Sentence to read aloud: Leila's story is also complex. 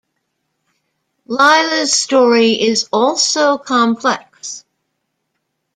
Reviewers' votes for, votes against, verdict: 2, 0, accepted